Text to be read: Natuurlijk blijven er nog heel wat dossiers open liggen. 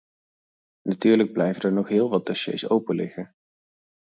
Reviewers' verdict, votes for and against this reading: rejected, 0, 4